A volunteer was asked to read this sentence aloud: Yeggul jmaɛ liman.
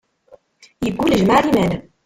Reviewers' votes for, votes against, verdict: 0, 2, rejected